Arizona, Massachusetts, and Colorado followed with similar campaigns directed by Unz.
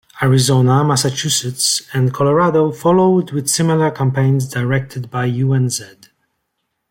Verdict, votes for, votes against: rejected, 0, 2